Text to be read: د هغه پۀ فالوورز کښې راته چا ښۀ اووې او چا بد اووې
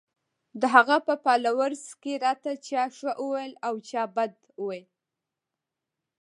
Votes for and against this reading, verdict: 1, 2, rejected